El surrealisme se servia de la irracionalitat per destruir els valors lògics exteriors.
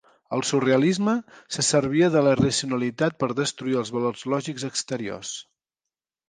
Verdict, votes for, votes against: accepted, 2, 0